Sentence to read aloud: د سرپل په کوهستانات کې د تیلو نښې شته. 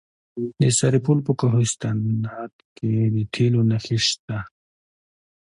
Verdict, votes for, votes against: accepted, 2, 0